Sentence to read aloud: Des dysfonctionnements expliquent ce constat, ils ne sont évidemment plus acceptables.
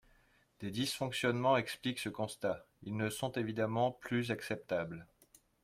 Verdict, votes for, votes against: accepted, 2, 0